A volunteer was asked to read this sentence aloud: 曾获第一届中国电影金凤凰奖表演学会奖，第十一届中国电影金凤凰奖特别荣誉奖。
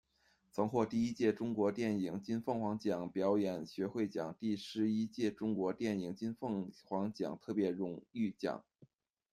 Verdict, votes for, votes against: accepted, 2, 1